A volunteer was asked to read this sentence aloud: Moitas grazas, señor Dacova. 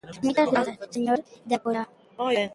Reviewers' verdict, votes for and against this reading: rejected, 0, 2